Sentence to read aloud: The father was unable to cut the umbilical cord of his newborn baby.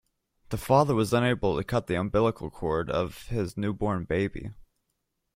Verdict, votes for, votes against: accepted, 2, 0